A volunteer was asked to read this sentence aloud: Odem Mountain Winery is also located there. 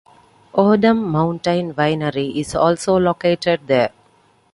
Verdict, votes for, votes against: accepted, 2, 0